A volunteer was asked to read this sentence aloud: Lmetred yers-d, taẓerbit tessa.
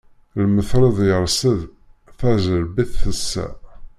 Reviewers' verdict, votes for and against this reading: rejected, 1, 2